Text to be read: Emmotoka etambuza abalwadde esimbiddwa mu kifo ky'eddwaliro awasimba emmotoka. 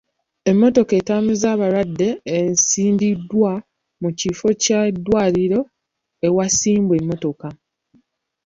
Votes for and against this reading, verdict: 2, 1, accepted